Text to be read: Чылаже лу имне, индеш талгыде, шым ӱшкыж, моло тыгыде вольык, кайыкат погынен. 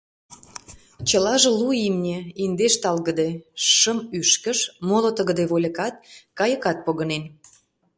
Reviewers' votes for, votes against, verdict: 0, 2, rejected